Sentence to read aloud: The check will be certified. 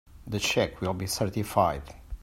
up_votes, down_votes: 2, 1